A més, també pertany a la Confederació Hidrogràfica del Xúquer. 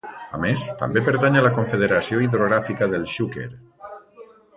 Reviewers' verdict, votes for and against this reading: rejected, 1, 2